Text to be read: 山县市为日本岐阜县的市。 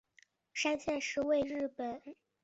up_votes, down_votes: 0, 4